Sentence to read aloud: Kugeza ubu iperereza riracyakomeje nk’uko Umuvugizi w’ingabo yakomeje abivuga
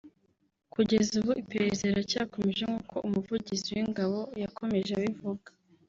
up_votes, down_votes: 0, 2